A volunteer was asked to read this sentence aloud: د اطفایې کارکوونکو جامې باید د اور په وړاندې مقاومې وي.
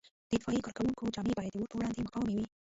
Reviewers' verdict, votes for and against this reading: rejected, 0, 2